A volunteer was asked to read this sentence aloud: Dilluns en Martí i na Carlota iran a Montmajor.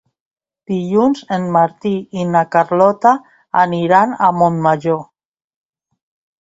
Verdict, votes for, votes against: rejected, 0, 2